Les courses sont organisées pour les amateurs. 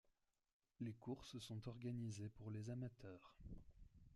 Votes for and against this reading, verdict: 2, 1, accepted